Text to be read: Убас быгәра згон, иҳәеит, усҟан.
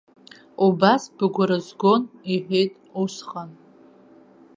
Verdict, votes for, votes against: accepted, 2, 0